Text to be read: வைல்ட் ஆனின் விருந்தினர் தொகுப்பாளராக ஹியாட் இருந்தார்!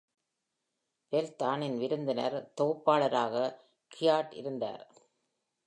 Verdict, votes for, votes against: rejected, 1, 2